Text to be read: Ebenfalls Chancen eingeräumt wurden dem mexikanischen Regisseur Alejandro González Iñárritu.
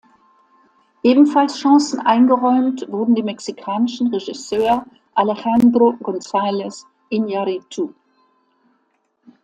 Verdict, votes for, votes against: accepted, 2, 0